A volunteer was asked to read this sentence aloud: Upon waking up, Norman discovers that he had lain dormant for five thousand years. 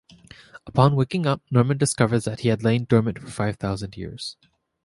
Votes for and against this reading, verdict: 2, 0, accepted